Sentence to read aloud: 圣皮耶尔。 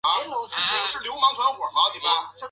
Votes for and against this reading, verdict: 1, 2, rejected